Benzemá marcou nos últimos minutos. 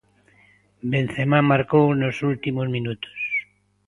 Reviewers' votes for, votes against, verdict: 3, 0, accepted